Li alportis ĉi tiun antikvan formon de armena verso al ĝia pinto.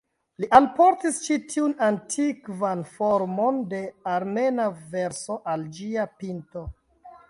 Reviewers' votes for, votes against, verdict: 2, 0, accepted